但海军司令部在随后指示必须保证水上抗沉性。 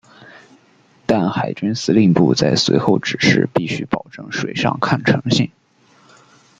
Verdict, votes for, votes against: rejected, 0, 2